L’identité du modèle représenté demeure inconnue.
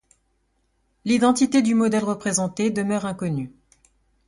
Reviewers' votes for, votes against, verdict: 2, 0, accepted